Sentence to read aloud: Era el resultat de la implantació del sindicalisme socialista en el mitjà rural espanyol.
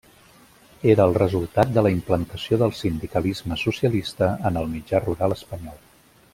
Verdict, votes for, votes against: accepted, 3, 0